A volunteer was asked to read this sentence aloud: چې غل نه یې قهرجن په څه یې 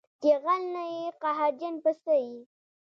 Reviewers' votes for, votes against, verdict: 2, 0, accepted